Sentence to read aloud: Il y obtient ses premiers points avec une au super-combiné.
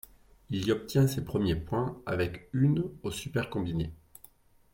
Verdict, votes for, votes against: accepted, 2, 0